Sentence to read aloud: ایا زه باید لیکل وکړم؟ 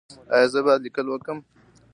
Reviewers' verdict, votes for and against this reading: accepted, 2, 0